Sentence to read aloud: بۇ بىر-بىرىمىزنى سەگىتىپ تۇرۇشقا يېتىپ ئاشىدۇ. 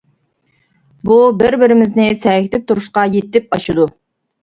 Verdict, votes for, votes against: accepted, 2, 0